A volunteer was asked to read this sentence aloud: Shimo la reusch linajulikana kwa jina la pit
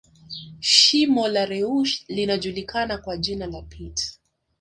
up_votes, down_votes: 4, 1